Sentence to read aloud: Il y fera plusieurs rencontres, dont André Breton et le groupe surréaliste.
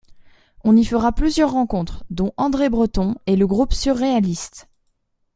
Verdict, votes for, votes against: rejected, 0, 2